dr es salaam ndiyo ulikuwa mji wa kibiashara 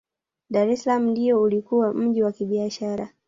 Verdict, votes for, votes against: rejected, 1, 2